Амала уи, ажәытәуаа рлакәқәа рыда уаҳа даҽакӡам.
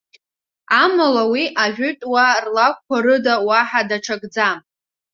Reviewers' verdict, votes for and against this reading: accepted, 2, 0